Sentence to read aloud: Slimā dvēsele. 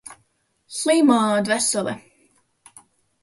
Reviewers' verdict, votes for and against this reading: rejected, 0, 2